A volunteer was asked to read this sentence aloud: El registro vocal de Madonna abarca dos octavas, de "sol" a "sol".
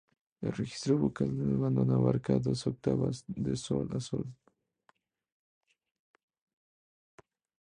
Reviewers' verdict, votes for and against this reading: accepted, 2, 0